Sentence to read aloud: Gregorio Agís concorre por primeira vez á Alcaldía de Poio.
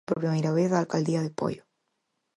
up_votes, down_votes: 0, 6